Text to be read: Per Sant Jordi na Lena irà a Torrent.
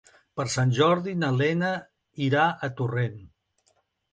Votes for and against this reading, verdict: 3, 0, accepted